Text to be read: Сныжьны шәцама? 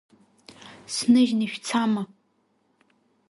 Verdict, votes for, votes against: rejected, 1, 2